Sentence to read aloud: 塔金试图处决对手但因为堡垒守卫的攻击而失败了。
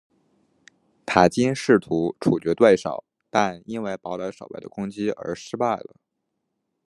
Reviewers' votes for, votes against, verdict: 1, 2, rejected